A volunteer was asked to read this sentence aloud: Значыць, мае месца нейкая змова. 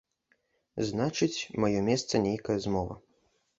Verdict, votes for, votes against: accepted, 2, 0